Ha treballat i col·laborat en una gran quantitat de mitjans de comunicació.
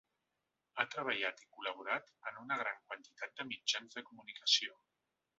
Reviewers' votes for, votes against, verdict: 3, 1, accepted